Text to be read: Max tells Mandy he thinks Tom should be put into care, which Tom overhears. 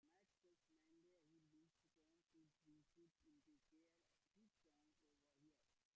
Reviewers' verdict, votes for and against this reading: rejected, 0, 2